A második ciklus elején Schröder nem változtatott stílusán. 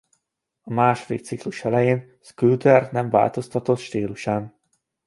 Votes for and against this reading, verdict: 1, 2, rejected